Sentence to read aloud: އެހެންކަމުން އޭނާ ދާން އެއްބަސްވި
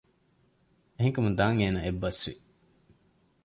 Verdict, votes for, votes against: rejected, 1, 2